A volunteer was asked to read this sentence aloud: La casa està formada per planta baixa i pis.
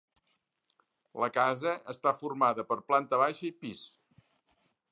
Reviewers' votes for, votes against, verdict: 2, 0, accepted